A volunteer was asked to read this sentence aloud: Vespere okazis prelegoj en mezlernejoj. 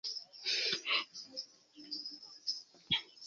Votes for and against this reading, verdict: 1, 2, rejected